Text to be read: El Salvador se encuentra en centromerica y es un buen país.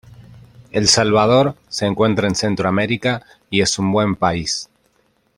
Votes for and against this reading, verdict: 2, 0, accepted